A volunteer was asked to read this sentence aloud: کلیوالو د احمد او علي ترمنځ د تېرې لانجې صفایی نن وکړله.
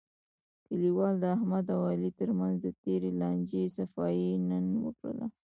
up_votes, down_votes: 1, 2